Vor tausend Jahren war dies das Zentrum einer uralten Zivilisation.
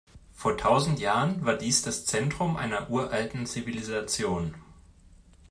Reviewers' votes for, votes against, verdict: 2, 0, accepted